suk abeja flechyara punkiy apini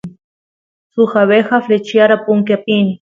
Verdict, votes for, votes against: accepted, 2, 0